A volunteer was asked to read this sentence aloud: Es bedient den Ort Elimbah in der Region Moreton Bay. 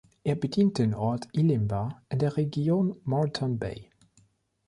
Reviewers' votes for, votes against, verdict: 1, 2, rejected